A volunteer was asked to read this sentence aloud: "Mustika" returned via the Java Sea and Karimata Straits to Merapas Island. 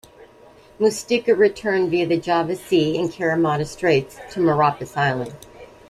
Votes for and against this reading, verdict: 1, 2, rejected